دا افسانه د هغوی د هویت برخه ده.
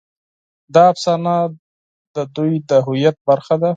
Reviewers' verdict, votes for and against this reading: rejected, 2, 4